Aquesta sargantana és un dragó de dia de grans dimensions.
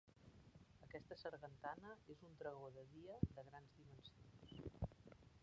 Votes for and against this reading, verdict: 0, 3, rejected